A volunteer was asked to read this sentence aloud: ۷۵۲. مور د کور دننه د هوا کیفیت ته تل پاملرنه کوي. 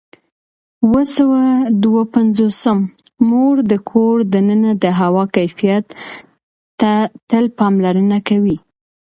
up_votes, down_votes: 0, 2